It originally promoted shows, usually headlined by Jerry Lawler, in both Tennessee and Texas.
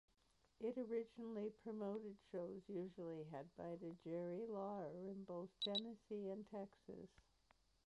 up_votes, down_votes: 0, 2